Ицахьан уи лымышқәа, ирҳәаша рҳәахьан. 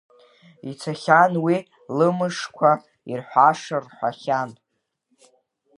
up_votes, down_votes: 0, 2